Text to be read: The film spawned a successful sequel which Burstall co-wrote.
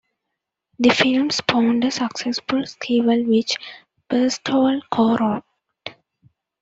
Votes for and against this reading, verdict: 2, 3, rejected